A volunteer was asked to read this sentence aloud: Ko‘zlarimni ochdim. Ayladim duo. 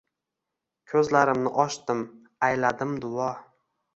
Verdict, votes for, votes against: accepted, 2, 0